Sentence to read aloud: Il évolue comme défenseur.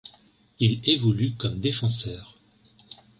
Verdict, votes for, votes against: accepted, 2, 0